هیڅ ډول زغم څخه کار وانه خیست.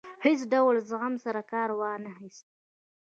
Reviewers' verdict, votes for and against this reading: rejected, 1, 2